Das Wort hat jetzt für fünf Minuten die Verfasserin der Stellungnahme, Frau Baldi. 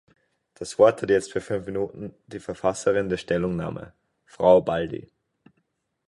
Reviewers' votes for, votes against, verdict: 2, 4, rejected